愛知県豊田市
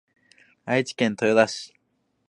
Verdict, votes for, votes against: accepted, 4, 0